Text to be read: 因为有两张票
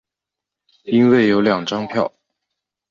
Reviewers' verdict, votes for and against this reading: accepted, 4, 0